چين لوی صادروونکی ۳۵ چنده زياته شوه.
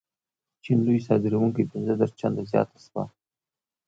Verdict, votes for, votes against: rejected, 0, 2